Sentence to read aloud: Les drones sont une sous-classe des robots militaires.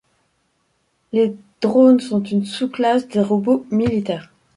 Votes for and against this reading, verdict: 2, 0, accepted